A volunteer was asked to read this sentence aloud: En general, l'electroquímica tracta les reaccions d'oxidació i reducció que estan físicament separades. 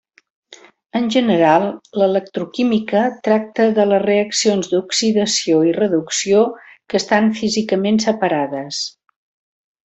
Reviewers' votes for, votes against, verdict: 1, 2, rejected